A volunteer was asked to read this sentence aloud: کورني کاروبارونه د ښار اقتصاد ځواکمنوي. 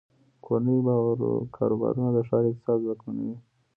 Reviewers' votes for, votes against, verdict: 0, 2, rejected